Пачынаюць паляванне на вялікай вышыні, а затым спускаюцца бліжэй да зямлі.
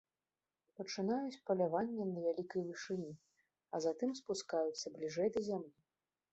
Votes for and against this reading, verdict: 2, 1, accepted